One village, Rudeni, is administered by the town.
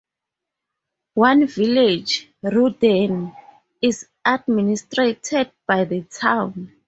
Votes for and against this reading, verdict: 2, 2, rejected